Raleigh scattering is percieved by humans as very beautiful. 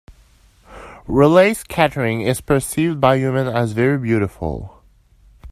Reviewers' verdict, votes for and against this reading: rejected, 1, 2